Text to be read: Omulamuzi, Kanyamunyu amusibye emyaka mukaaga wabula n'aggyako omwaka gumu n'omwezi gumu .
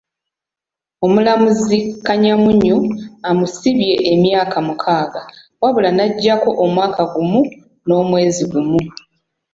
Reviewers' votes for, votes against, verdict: 3, 0, accepted